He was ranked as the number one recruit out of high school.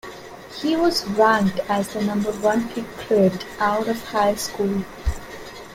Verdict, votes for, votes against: accepted, 2, 0